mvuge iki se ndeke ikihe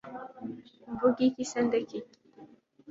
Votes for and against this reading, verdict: 1, 2, rejected